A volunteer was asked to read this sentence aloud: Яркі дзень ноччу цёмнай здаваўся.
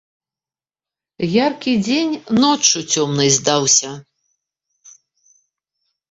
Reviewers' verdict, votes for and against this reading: rejected, 1, 2